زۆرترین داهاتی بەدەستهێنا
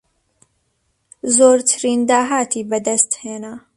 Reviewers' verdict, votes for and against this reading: accepted, 2, 0